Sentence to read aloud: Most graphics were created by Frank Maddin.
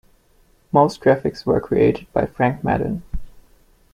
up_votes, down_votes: 2, 0